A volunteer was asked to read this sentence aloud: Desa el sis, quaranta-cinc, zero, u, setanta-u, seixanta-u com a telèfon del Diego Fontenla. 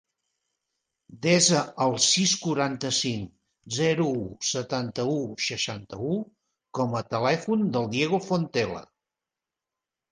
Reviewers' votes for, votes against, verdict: 1, 2, rejected